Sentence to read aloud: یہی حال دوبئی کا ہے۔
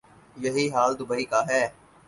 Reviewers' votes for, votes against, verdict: 6, 0, accepted